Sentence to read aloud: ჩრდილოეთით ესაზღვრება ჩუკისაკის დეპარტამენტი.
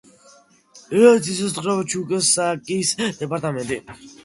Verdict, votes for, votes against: rejected, 1, 2